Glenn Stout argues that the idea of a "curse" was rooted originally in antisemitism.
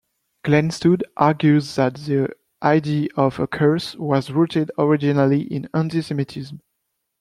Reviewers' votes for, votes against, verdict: 1, 2, rejected